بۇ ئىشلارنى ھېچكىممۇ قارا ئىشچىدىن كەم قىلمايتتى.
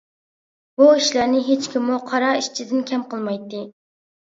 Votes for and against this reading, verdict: 2, 0, accepted